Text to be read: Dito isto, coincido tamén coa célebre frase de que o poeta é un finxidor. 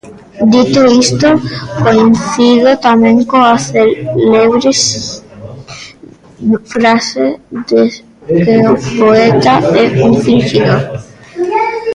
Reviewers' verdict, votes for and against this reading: rejected, 0, 2